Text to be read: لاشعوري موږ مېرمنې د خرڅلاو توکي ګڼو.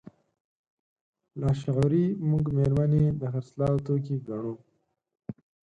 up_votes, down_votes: 2, 4